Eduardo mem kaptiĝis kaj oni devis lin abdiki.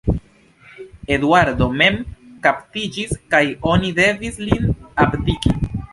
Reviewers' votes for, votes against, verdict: 2, 0, accepted